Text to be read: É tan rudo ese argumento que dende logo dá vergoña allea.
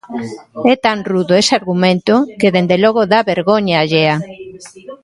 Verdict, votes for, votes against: accepted, 2, 0